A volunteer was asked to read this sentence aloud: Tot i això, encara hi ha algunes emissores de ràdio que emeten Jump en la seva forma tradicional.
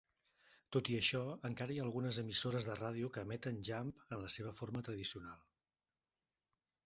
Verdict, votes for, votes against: rejected, 1, 2